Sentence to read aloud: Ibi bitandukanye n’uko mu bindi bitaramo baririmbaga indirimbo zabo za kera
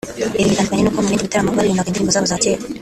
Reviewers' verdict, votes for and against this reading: accepted, 2, 1